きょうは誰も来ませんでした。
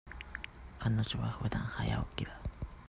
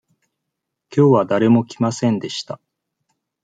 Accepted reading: second